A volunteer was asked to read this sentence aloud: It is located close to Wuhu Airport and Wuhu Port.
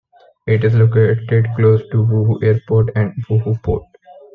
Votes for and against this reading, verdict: 1, 2, rejected